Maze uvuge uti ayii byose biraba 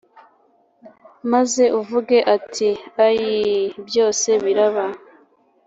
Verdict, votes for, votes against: accepted, 2, 1